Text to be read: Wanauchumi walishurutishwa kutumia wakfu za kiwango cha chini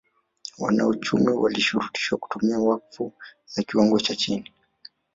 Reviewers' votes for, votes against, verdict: 1, 2, rejected